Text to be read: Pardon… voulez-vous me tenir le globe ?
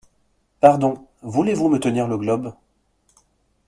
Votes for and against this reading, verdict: 2, 0, accepted